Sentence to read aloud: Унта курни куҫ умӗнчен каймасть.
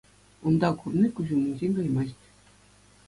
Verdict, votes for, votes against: accepted, 2, 0